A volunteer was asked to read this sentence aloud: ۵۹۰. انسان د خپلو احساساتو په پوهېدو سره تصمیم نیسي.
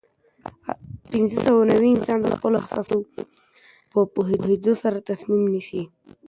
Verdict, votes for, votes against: rejected, 0, 2